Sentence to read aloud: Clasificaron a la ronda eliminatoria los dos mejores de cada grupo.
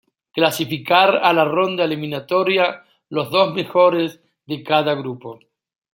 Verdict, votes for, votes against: rejected, 1, 2